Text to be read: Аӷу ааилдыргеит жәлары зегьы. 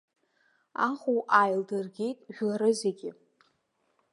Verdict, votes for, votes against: rejected, 1, 2